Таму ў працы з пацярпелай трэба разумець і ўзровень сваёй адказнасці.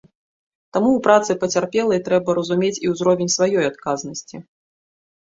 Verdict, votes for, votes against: rejected, 0, 3